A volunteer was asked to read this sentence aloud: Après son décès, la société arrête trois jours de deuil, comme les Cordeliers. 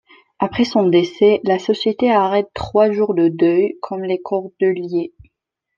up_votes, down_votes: 2, 0